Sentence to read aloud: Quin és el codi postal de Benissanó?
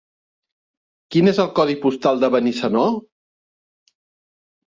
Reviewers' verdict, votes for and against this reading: accepted, 2, 0